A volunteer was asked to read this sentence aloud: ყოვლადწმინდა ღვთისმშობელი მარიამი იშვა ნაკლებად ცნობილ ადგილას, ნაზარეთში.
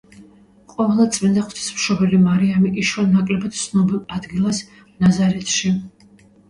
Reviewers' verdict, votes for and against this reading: accepted, 2, 0